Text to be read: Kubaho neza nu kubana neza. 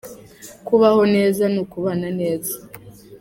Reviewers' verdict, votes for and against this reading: accepted, 2, 1